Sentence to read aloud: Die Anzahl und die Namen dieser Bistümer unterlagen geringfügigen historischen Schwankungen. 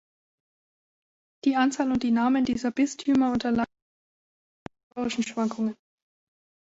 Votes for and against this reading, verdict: 0, 2, rejected